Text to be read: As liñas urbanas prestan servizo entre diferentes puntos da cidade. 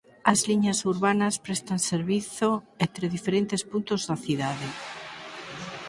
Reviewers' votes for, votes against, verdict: 4, 0, accepted